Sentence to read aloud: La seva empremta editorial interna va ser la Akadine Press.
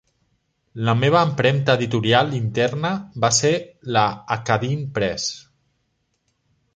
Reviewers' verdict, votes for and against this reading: rejected, 1, 3